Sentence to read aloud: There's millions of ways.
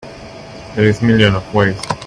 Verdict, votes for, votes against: rejected, 0, 3